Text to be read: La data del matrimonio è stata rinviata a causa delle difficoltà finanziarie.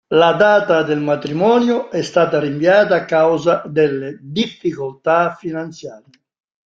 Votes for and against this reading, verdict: 2, 0, accepted